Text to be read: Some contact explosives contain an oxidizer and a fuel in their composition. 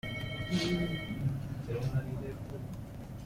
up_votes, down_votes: 0, 2